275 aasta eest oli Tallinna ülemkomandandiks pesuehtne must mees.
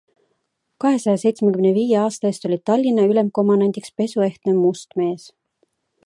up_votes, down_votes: 0, 2